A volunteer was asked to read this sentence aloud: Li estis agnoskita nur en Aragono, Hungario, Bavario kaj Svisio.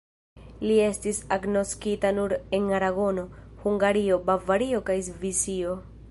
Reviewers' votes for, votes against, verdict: 2, 0, accepted